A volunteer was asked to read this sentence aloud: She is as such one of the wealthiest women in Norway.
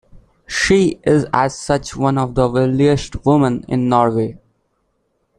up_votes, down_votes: 2, 1